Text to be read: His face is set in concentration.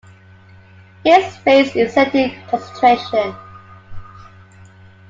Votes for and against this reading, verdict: 2, 1, accepted